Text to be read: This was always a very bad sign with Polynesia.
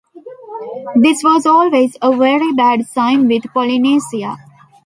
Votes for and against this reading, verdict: 2, 0, accepted